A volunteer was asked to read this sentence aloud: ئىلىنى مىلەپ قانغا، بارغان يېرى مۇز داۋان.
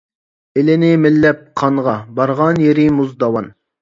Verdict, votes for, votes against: rejected, 1, 2